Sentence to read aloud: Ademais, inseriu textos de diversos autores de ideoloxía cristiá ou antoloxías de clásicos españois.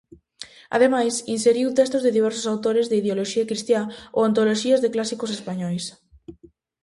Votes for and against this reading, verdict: 2, 0, accepted